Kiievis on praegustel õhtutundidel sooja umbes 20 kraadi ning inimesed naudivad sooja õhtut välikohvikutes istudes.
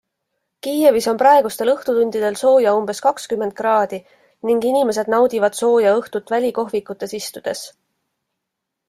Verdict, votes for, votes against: rejected, 0, 2